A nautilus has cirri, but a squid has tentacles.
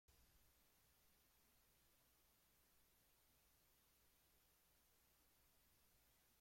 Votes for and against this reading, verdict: 0, 2, rejected